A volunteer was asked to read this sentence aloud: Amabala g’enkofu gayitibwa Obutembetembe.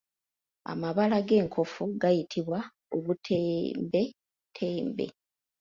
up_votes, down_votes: 0, 3